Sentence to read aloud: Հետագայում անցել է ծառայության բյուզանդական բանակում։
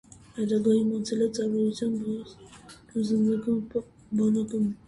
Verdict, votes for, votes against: rejected, 0, 2